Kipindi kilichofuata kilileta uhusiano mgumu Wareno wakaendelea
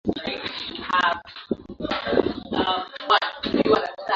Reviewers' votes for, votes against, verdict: 0, 2, rejected